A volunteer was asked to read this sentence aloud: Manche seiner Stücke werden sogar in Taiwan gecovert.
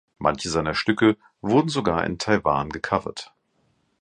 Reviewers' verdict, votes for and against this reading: rejected, 1, 2